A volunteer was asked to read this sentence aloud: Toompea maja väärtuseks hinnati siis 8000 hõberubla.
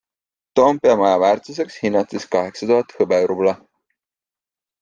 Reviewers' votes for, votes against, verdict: 0, 2, rejected